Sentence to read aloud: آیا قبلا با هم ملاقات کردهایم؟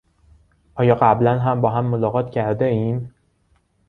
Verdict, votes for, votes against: rejected, 1, 2